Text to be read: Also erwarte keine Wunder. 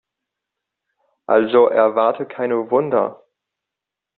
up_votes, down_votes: 2, 0